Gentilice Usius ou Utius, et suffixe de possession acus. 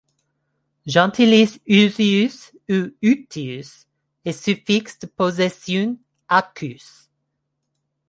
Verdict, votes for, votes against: rejected, 1, 2